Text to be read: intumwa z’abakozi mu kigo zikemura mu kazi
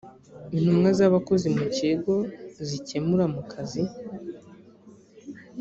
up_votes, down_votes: 2, 1